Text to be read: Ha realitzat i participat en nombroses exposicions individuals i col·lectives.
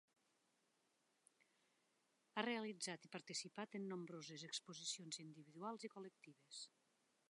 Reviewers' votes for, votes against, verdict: 3, 2, accepted